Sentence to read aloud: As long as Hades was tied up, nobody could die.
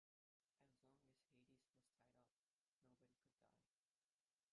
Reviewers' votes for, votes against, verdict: 0, 2, rejected